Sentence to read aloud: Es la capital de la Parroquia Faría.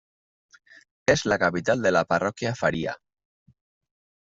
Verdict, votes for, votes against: accepted, 2, 0